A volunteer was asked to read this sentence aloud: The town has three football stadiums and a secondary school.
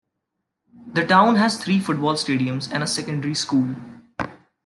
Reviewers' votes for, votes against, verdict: 2, 0, accepted